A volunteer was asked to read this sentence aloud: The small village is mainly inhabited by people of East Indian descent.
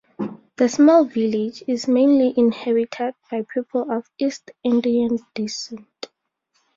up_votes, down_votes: 2, 2